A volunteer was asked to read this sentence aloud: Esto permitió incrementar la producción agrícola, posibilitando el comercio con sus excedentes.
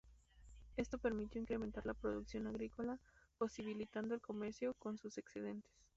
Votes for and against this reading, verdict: 0, 2, rejected